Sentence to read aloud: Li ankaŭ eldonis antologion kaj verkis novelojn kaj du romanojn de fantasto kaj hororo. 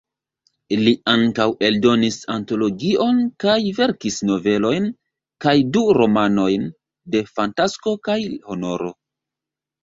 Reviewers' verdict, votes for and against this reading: rejected, 1, 2